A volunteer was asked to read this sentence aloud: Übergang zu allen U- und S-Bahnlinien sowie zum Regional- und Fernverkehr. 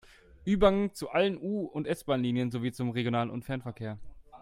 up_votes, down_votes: 1, 2